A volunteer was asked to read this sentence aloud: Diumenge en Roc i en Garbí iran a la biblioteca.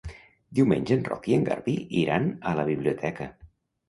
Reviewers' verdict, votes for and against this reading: accepted, 2, 0